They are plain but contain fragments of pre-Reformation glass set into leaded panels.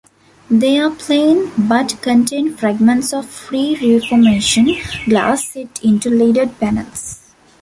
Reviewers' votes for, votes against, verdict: 1, 2, rejected